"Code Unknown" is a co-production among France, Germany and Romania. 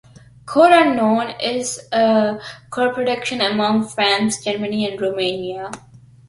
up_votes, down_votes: 3, 0